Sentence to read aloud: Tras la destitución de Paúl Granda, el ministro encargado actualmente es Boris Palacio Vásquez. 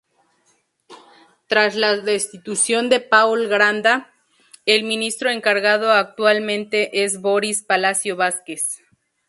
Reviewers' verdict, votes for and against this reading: rejected, 0, 2